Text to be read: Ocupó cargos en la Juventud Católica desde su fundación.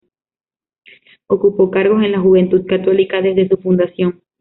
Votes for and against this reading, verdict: 2, 0, accepted